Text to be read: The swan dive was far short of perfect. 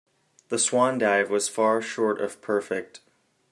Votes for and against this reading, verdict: 2, 0, accepted